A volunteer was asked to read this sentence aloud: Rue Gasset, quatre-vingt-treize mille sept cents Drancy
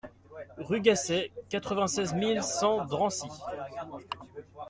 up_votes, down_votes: 0, 2